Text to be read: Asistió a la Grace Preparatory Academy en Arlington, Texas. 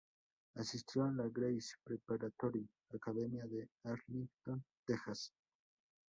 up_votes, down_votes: 2, 4